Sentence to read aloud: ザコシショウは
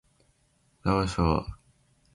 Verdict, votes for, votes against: rejected, 0, 2